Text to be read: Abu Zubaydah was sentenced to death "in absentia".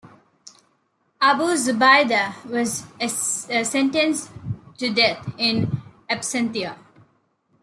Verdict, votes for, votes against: rejected, 0, 3